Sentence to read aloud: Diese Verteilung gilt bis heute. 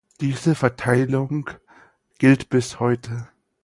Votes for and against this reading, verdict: 4, 0, accepted